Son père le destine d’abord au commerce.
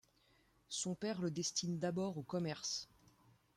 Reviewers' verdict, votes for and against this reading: rejected, 1, 2